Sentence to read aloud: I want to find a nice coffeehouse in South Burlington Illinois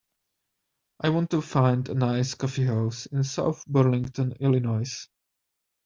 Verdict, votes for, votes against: accepted, 2, 0